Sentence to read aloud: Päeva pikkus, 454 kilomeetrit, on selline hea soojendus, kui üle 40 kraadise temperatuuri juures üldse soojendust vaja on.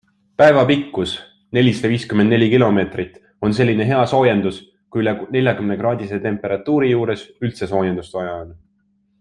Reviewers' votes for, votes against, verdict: 0, 2, rejected